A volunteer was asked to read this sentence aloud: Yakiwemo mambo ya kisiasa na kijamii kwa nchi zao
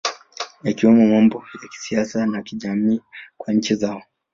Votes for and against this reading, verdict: 2, 1, accepted